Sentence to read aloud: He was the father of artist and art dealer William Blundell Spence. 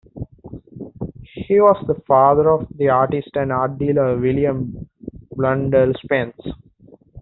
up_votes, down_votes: 1, 2